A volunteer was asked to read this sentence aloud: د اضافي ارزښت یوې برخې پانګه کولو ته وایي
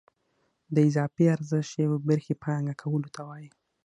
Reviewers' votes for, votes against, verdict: 6, 0, accepted